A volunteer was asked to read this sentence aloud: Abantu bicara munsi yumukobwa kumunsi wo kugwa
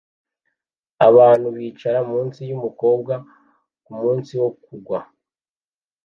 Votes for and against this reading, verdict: 2, 0, accepted